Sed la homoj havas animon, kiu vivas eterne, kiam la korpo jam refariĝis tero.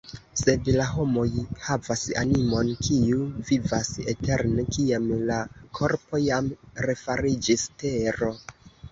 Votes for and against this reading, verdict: 1, 2, rejected